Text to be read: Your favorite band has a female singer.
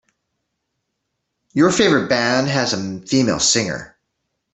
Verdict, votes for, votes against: accepted, 2, 0